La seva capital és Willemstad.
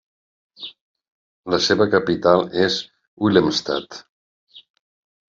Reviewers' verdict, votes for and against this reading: accepted, 3, 0